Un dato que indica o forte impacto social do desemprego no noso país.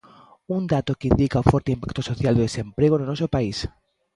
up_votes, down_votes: 2, 0